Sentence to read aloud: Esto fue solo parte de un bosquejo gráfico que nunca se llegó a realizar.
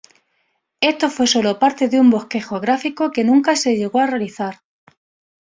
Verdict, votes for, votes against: accepted, 2, 0